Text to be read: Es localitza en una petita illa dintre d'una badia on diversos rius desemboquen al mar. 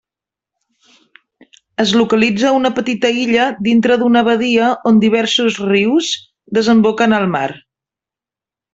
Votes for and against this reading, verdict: 1, 2, rejected